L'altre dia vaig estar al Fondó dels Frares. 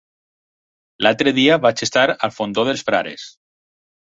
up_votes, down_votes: 4, 0